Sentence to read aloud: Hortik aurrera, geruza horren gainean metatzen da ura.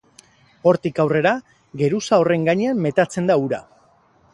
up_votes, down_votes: 4, 0